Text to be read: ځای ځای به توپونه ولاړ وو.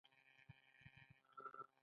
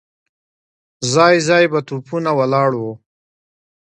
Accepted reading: second